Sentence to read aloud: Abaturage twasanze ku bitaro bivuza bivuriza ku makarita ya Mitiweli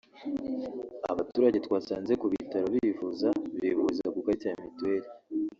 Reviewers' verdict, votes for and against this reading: rejected, 0, 2